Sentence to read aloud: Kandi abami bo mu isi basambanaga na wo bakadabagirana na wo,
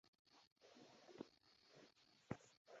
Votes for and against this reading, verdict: 0, 2, rejected